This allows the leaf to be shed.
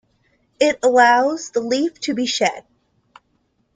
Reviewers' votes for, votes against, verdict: 0, 2, rejected